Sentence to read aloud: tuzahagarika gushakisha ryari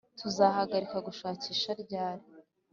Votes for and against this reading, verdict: 3, 0, accepted